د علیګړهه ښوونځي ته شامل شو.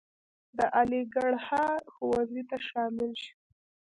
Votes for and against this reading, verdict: 0, 2, rejected